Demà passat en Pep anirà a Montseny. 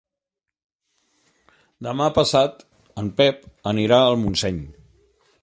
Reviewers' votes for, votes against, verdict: 1, 2, rejected